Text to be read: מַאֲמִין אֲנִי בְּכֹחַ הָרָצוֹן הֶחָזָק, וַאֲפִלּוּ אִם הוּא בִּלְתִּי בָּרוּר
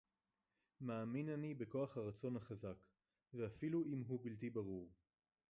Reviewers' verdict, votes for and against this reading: rejected, 0, 2